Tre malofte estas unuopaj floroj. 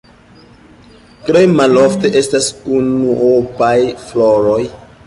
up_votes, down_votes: 3, 1